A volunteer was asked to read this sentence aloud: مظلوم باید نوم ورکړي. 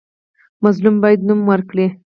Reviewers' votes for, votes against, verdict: 4, 0, accepted